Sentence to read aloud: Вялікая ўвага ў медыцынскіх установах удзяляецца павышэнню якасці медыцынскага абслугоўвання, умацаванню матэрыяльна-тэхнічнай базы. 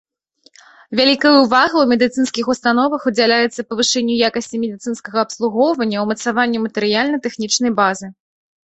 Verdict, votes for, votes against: rejected, 0, 2